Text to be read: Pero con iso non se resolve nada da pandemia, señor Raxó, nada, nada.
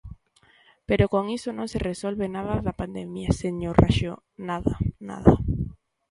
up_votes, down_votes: 2, 0